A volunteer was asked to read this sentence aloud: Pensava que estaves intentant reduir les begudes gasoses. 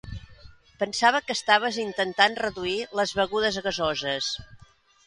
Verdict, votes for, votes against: accepted, 2, 0